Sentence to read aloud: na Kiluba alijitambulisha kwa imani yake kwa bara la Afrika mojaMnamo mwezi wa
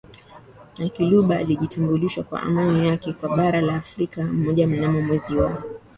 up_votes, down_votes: 11, 3